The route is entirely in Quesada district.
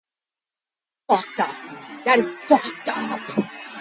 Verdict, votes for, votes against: rejected, 0, 2